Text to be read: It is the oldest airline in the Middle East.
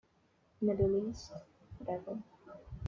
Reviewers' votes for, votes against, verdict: 1, 2, rejected